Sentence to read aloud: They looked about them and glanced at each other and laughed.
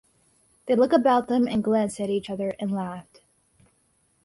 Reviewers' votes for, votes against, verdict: 4, 0, accepted